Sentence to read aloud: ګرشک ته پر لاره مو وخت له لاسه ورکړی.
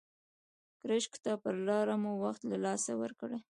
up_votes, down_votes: 2, 0